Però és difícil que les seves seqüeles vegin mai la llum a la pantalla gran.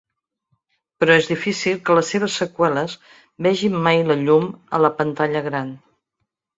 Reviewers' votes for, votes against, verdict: 3, 0, accepted